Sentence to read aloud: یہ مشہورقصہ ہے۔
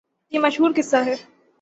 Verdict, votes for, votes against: rejected, 0, 3